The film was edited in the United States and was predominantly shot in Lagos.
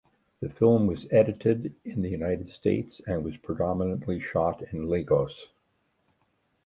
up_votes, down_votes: 2, 1